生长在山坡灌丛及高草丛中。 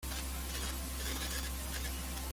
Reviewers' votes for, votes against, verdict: 0, 2, rejected